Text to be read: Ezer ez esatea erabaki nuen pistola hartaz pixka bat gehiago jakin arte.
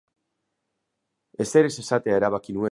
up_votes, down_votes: 0, 2